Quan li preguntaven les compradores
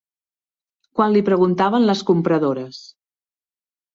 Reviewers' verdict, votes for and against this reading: accepted, 3, 0